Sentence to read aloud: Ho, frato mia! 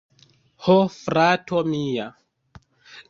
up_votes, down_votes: 1, 2